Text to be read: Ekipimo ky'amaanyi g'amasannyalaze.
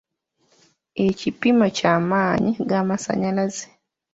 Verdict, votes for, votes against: accepted, 2, 0